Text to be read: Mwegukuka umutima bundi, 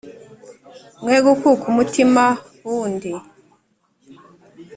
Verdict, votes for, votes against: accepted, 3, 0